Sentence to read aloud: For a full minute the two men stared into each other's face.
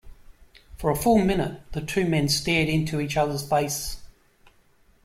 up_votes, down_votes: 2, 0